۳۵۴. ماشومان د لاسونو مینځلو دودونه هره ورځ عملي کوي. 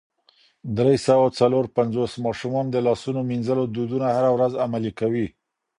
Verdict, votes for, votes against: rejected, 0, 2